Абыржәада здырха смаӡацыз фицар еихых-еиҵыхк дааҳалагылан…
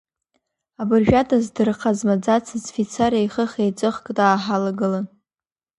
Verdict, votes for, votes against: accepted, 2, 0